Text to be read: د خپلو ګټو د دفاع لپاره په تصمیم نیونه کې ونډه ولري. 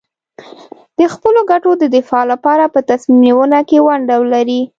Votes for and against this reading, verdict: 2, 0, accepted